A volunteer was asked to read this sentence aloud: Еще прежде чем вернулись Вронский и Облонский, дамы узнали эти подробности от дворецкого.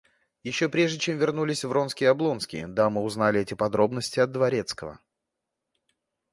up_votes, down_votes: 2, 0